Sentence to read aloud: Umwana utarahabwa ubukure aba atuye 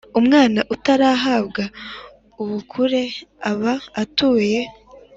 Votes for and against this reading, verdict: 2, 0, accepted